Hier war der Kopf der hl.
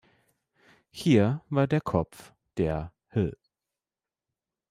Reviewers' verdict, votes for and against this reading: rejected, 1, 2